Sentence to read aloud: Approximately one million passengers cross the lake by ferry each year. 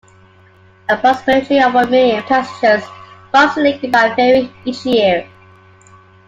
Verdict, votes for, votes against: accepted, 2, 1